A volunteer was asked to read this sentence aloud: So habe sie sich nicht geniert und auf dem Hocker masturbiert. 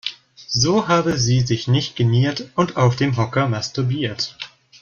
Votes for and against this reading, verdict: 2, 0, accepted